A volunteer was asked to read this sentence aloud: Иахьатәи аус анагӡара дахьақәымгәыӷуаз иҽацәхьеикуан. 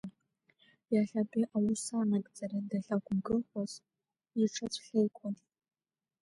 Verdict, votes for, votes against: rejected, 0, 2